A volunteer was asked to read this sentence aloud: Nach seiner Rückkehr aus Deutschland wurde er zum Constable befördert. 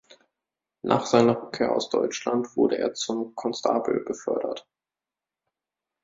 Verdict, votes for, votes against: rejected, 1, 2